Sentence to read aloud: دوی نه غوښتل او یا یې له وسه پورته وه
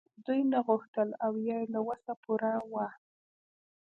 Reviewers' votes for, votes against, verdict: 1, 2, rejected